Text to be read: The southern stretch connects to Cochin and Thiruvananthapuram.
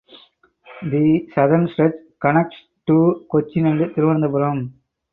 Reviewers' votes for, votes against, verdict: 2, 2, rejected